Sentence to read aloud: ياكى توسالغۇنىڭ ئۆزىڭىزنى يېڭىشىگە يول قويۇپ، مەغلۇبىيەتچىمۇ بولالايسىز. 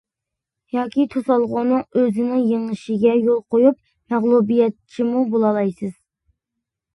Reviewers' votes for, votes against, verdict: 0, 2, rejected